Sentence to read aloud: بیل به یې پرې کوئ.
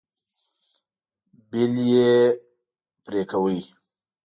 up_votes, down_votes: 0, 2